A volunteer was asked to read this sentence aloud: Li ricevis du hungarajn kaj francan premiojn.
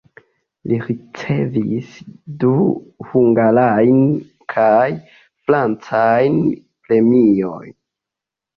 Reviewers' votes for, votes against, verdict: 2, 0, accepted